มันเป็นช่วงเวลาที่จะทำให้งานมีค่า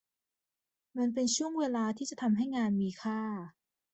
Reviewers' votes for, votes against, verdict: 2, 0, accepted